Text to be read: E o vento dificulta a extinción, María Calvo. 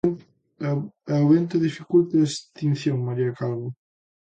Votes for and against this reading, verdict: 0, 2, rejected